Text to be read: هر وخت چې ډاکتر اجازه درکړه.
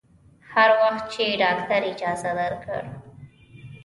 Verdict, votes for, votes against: accepted, 2, 0